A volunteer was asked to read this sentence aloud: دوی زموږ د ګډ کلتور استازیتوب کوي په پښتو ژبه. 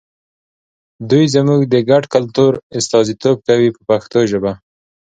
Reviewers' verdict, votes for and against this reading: accepted, 2, 0